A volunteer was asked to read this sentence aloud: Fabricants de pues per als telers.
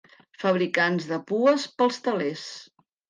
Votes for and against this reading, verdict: 0, 3, rejected